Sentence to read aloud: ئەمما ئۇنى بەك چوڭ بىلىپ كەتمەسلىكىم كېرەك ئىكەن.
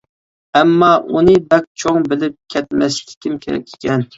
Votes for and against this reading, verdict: 2, 0, accepted